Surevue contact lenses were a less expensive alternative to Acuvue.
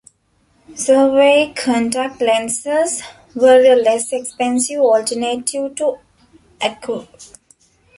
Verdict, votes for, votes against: rejected, 0, 2